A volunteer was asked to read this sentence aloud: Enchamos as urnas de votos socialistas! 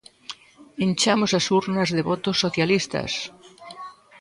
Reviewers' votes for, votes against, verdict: 0, 2, rejected